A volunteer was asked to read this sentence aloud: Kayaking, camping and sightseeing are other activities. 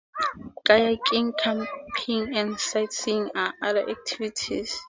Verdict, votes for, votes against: rejected, 2, 2